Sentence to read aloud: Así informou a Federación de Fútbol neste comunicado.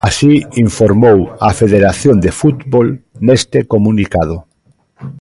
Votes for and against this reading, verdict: 2, 1, accepted